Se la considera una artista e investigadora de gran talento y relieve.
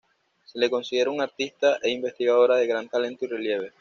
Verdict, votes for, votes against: accepted, 2, 0